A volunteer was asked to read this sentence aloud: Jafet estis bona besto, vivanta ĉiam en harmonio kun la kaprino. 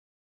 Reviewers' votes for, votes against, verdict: 1, 4, rejected